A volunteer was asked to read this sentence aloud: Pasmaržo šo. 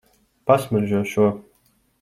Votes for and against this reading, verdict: 2, 0, accepted